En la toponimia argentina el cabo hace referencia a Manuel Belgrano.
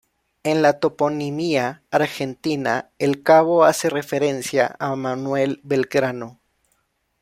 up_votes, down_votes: 2, 0